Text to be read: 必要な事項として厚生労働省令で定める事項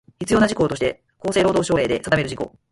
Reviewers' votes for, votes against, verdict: 4, 0, accepted